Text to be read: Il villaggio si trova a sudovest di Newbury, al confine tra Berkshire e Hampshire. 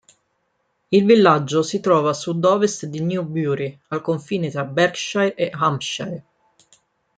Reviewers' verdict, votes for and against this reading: rejected, 0, 2